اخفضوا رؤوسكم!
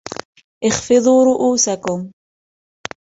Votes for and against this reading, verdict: 2, 1, accepted